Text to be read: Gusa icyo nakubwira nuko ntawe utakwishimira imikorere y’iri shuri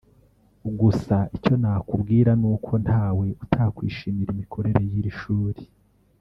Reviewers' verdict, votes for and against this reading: rejected, 1, 2